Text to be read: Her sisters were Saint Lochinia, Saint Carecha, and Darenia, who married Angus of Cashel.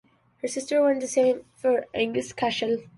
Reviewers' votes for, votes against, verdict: 1, 2, rejected